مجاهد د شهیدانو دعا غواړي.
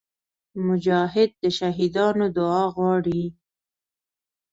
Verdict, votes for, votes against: accepted, 2, 0